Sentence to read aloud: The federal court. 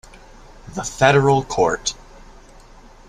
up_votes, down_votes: 2, 0